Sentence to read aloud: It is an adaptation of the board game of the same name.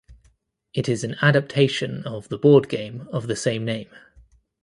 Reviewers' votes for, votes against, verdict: 2, 0, accepted